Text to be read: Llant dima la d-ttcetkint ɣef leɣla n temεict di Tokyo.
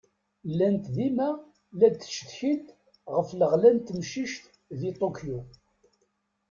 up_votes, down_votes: 0, 2